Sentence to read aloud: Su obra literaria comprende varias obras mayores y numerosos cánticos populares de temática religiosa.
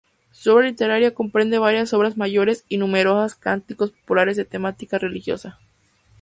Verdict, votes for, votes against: rejected, 0, 2